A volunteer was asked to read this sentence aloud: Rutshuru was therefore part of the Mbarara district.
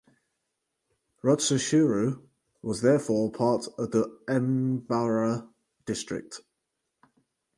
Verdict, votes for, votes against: rejected, 2, 4